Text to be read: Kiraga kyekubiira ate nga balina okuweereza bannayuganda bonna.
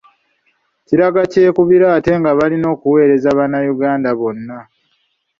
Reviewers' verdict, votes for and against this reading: accepted, 2, 0